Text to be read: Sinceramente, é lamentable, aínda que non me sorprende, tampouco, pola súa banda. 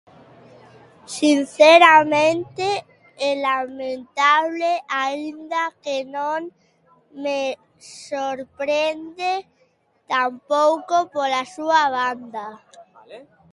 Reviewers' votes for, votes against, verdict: 0, 3, rejected